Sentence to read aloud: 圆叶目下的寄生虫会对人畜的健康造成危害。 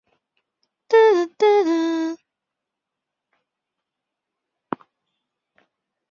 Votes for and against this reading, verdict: 0, 6, rejected